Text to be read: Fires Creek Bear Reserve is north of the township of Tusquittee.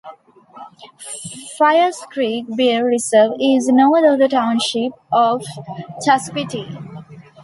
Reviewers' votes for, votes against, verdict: 0, 2, rejected